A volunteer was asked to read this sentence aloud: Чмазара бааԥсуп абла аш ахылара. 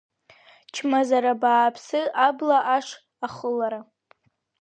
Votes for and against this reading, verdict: 2, 3, rejected